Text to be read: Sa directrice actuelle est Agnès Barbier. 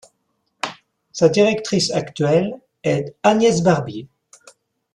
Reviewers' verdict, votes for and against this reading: accepted, 2, 0